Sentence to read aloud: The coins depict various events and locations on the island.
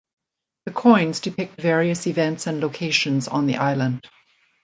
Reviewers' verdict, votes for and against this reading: accepted, 2, 0